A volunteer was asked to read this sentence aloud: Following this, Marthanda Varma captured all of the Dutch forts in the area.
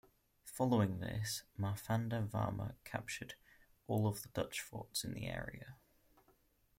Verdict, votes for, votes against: accepted, 2, 0